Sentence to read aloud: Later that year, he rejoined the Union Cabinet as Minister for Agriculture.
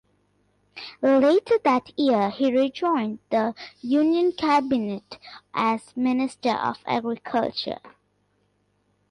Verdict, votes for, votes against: rejected, 1, 2